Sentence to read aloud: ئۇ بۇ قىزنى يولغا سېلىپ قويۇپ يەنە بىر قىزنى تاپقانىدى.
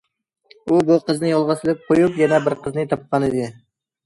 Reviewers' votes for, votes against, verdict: 2, 0, accepted